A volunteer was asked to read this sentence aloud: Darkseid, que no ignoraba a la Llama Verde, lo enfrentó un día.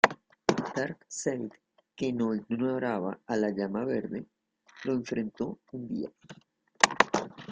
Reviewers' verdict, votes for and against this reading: rejected, 1, 2